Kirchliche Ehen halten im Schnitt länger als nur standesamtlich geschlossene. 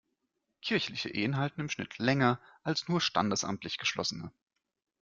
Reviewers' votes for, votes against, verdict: 2, 0, accepted